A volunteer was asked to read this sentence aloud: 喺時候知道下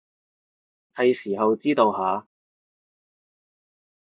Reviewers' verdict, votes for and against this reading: accepted, 2, 0